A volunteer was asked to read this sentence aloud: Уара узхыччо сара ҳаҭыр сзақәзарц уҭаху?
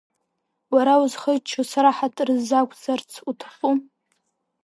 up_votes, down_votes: 1, 2